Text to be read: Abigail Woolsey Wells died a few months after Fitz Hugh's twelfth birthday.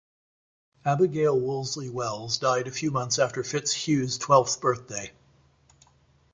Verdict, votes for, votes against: accepted, 2, 0